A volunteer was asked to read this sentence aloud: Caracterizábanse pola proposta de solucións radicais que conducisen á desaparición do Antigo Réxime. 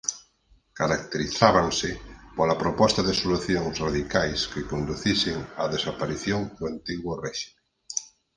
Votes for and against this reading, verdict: 2, 4, rejected